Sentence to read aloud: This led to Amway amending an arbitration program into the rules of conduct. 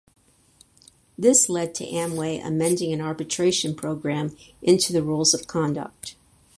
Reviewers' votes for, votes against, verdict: 4, 0, accepted